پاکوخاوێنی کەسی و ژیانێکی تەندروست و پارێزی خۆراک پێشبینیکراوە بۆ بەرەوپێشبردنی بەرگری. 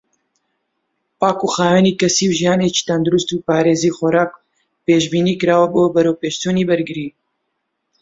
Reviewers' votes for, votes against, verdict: 0, 2, rejected